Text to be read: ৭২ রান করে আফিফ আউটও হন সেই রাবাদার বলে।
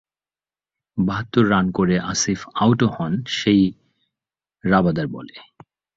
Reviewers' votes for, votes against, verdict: 0, 2, rejected